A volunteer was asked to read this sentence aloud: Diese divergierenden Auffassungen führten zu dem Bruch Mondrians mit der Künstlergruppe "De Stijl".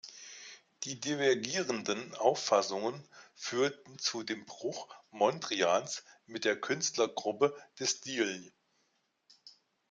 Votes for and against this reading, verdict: 0, 2, rejected